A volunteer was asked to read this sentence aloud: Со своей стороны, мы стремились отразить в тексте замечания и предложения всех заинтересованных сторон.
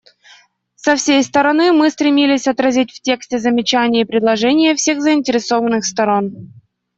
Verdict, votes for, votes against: rejected, 0, 2